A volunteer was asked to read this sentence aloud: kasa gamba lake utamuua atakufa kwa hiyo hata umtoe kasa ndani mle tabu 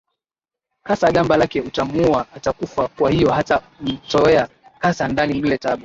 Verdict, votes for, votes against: accepted, 10, 7